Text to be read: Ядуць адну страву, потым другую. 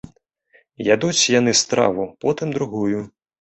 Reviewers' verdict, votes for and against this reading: rejected, 0, 3